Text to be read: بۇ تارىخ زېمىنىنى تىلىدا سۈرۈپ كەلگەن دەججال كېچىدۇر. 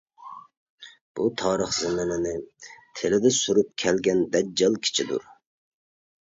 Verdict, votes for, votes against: rejected, 1, 2